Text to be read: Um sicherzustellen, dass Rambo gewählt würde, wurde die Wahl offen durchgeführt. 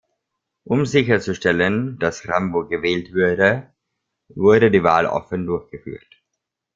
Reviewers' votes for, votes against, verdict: 0, 2, rejected